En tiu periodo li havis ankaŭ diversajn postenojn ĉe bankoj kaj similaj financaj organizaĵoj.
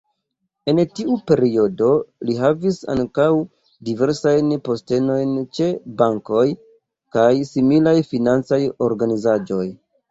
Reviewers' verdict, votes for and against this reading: rejected, 1, 2